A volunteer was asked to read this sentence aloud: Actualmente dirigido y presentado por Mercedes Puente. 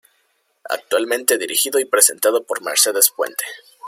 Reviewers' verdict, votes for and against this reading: accepted, 2, 1